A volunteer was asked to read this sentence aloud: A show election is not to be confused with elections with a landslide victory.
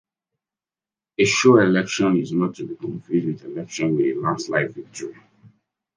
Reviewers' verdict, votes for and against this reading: rejected, 1, 2